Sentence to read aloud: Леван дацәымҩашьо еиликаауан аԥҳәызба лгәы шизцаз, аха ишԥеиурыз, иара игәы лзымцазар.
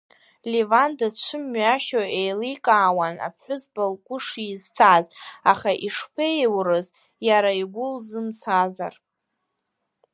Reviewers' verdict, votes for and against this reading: rejected, 1, 2